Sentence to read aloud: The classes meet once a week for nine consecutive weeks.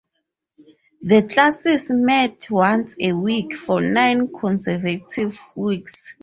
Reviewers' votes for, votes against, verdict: 0, 4, rejected